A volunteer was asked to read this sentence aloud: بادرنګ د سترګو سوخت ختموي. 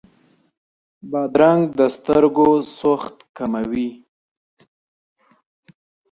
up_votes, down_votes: 2, 1